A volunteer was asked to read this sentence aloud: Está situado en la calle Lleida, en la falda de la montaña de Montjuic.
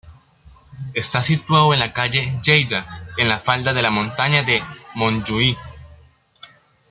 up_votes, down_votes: 2, 0